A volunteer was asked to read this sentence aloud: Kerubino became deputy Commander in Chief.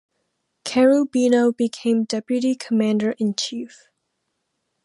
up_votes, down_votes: 2, 0